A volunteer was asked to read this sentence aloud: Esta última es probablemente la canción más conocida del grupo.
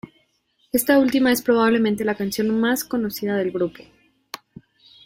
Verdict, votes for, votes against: accepted, 3, 0